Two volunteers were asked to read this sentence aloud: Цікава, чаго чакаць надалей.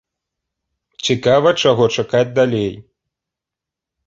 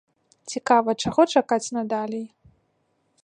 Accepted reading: second